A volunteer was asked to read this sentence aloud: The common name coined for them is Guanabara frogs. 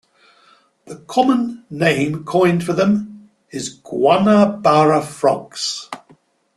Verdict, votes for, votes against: accepted, 2, 0